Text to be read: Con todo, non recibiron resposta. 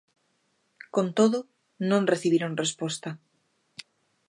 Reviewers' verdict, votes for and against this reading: accepted, 2, 0